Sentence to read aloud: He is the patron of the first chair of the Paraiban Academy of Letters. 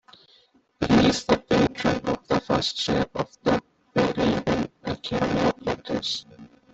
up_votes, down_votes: 0, 2